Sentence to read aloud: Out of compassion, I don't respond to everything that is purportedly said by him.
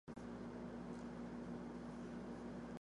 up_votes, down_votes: 0, 2